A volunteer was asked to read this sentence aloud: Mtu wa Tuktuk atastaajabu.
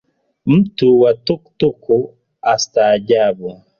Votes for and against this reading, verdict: 3, 2, accepted